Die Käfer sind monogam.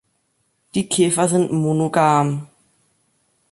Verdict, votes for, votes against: accepted, 2, 0